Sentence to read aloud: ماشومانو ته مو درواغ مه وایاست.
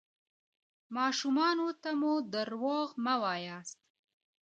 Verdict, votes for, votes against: rejected, 0, 2